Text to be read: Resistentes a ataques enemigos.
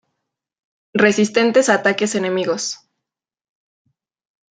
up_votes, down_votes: 2, 0